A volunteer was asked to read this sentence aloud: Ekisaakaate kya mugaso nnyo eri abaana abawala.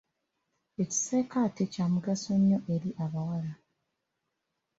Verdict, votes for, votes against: rejected, 1, 2